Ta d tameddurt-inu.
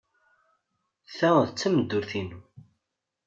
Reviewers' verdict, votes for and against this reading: accepted, 2, 0